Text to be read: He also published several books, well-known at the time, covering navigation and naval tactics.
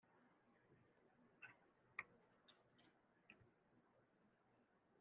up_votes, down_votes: 0, 2